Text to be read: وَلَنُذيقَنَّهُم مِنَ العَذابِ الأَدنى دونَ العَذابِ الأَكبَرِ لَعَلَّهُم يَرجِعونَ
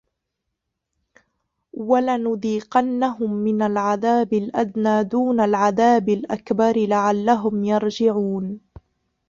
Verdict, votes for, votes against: accepted, 2, 1